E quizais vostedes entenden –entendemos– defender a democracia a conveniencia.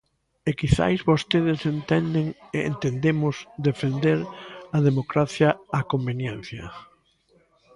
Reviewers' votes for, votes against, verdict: 1, 2, rejected